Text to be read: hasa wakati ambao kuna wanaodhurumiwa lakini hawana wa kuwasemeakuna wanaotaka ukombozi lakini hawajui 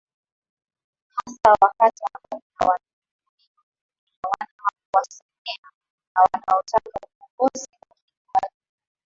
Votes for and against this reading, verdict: 4, 14, rejected